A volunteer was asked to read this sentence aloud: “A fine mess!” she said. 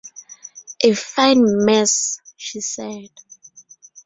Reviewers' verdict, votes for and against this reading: rejected, 0, 2